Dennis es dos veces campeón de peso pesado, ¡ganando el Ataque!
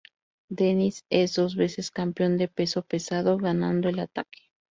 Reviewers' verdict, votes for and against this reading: accepted, 2, 0